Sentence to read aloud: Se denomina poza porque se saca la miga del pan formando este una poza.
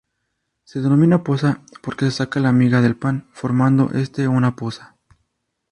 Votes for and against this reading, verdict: 2, 0, accepted